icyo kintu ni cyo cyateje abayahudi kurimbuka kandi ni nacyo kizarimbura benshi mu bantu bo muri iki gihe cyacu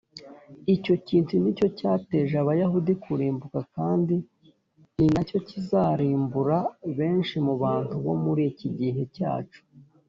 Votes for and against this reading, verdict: 2, 0, accepted